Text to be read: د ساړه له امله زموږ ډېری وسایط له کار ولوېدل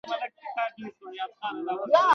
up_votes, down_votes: 1, 2